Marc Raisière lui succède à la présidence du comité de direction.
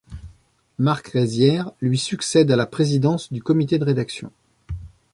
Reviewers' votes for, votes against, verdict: 1, 2, rejected